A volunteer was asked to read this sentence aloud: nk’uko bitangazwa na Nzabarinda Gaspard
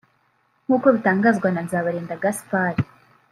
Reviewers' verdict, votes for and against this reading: rejected, 1, 2